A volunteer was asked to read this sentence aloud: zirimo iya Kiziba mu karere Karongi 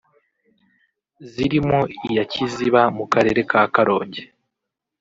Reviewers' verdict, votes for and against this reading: rejected, 1, 2